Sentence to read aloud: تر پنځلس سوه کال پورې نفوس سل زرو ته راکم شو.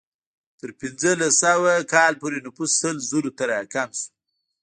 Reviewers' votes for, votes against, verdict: 1, 2, rejected